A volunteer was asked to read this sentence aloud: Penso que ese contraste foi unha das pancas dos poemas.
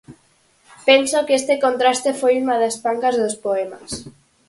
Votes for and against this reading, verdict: 2, 4, rejected